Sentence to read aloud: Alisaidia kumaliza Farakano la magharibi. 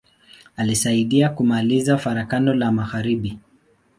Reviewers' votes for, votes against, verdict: 3, 3, rejected